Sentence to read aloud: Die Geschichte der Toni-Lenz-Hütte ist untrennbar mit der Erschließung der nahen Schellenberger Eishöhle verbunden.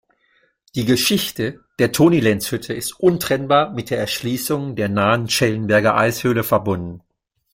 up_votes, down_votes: 2, 0